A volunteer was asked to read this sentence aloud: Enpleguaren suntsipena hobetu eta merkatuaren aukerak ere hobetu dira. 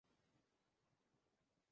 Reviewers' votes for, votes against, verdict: 0, 2, rejected